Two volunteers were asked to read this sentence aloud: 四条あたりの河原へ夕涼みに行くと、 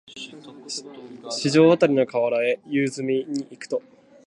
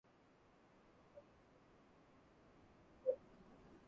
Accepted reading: first